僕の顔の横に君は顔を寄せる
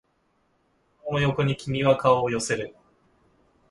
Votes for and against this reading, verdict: 0, 2, rejected